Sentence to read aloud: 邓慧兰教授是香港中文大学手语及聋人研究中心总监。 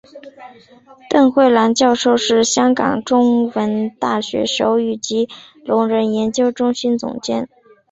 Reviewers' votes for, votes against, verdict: 0, 2, rejected